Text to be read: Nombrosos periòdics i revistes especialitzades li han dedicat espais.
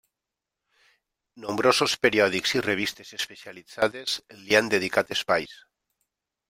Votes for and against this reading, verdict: 0, 2, rejected